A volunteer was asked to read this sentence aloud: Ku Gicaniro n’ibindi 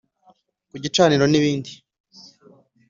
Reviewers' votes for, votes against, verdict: 2, 0, accepted